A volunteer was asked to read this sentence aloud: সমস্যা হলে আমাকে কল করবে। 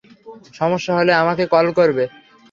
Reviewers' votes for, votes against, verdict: 3, 0, accepted